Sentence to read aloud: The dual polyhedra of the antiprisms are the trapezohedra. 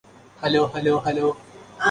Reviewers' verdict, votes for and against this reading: rejected, 0, 2